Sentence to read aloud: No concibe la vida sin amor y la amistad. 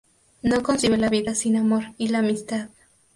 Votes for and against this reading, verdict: 2, 0, accepted